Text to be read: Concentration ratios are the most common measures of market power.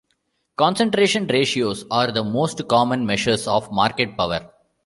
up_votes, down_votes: 2, 0